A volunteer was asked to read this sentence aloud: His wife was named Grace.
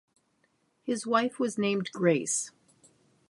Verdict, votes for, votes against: rejected, 0, 3